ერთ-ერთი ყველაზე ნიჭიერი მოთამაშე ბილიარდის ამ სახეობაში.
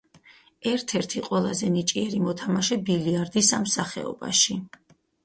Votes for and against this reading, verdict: 2, 2, rejected